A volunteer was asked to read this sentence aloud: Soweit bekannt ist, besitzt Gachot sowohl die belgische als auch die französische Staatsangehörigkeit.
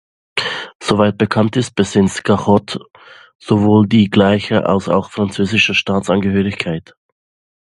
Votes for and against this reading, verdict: 0, 2, rejected